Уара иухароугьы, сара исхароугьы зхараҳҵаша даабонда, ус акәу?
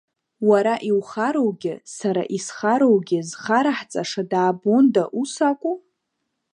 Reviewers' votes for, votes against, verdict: 3, 0, accepted